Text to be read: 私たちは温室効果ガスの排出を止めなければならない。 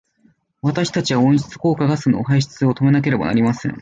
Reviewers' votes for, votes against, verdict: 0, 2, rejected